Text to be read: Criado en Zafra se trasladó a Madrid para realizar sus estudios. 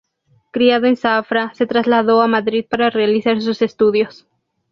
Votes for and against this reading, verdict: 2, 0, accepted